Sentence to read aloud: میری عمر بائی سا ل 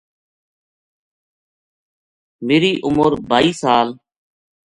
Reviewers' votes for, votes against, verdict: 2, 0, accepted